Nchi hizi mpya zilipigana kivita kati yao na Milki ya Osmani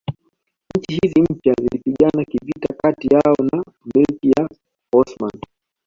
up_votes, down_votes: 0, 2